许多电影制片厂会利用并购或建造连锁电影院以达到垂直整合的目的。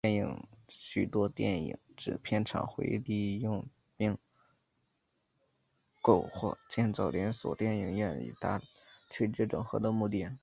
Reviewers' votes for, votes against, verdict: 0, 2, rejected